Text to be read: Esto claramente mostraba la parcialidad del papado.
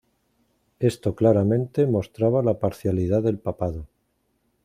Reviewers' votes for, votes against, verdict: 2, 0, accepted